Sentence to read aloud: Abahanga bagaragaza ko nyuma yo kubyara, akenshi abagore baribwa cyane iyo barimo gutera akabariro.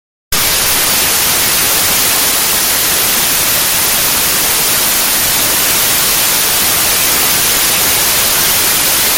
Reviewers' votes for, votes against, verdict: 0, 2, rejected